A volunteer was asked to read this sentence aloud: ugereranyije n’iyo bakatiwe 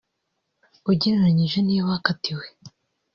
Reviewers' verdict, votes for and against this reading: rejected, 1, 2